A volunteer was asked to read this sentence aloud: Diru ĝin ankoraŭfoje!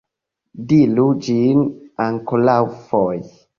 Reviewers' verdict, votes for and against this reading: rejected, 0, 2